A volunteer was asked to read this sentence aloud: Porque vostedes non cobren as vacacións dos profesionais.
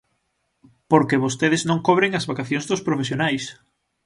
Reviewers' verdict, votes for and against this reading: accepted, 6, 0